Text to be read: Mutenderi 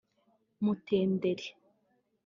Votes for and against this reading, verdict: 1, 2, rejected